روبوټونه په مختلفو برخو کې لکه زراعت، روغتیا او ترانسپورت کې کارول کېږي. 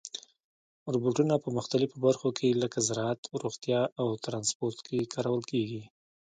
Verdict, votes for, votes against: accepted, 2, 1